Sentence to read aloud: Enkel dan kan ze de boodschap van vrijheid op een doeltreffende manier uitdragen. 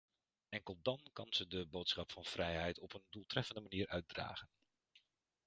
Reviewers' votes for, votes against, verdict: 1, 2, rejected